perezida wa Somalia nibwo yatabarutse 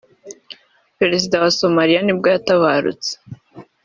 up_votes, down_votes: 2, 0